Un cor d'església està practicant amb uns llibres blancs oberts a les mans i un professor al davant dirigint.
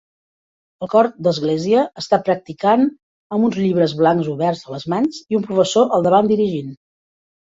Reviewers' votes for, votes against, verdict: 1, 2, rejected